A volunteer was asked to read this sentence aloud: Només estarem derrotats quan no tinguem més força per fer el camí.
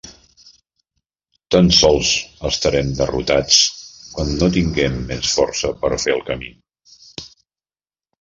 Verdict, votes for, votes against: rejected, 0, 2